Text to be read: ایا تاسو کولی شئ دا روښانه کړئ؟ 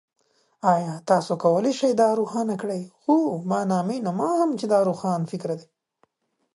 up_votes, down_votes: 1, 2